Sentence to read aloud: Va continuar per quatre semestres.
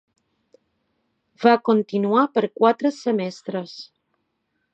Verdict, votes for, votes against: accepted, 2, 0